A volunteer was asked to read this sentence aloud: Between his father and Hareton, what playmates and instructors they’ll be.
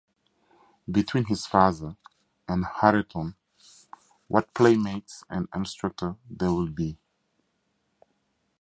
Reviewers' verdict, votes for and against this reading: rejected, 0, 2